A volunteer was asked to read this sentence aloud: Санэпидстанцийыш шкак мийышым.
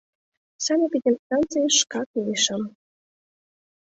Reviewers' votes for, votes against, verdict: 2, 0, accepted